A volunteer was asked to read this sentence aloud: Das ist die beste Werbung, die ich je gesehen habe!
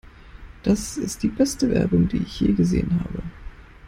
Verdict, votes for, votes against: accepted, 2, 0